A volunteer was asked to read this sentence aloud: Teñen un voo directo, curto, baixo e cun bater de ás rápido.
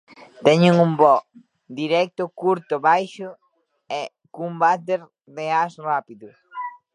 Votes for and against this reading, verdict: 0, 2, rejected